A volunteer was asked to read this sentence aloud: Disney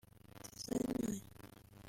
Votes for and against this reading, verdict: 0, 2, rejected